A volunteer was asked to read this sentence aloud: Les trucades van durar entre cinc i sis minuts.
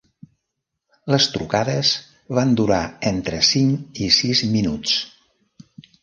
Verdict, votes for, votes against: accepted, 3, 0